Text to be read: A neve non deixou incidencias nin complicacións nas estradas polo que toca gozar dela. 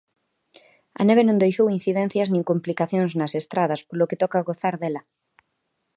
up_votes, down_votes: 2, 0